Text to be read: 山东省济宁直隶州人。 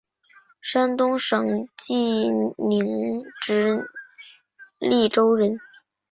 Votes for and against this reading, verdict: 4, 0, accepted